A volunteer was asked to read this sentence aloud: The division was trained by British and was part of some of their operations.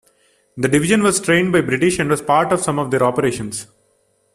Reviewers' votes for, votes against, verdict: 2, 0, accepted